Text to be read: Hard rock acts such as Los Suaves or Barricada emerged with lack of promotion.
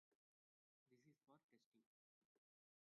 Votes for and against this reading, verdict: 0, 2, rejected